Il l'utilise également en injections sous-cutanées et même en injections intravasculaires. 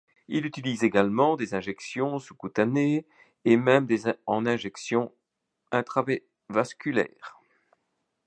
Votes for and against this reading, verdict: 0, 2, rejected